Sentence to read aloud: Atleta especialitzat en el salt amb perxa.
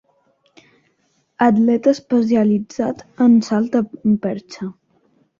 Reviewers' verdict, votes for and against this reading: rejected, 0, 2